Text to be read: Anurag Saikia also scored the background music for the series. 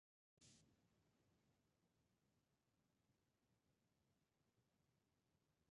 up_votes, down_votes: 0, 2